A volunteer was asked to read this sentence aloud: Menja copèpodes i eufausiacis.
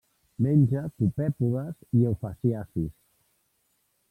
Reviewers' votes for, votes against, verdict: 1, 2, rejected